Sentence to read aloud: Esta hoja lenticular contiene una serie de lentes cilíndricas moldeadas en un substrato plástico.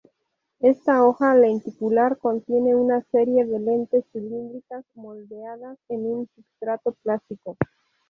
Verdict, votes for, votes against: accepted, 2, 0